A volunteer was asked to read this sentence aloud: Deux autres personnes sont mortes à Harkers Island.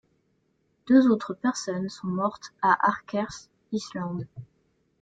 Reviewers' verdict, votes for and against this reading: rejected, 0, 2